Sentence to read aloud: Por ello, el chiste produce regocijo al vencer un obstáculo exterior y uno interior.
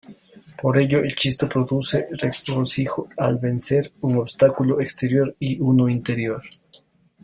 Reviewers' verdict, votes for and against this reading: rejected, 2, 3